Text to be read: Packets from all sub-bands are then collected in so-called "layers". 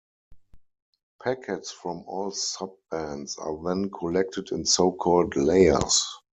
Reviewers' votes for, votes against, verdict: 4, 2, accepted